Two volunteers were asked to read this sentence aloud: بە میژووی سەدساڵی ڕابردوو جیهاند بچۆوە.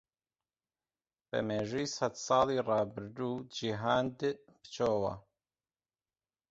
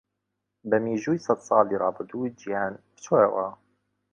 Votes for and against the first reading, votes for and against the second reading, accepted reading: 1, 2, 3, 2, second